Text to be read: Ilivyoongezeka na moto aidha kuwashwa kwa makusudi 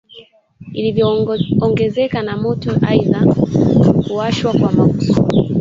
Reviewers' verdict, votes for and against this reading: rejected, 0, 2